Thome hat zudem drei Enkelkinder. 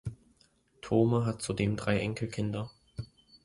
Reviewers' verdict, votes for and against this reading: accepted, 2, 0